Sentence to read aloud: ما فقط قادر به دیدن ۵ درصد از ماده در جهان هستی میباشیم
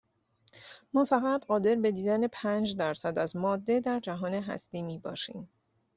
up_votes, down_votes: 0, 2